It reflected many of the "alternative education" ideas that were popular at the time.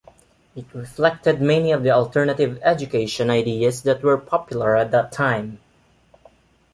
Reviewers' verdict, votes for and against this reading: rejected, 0, 2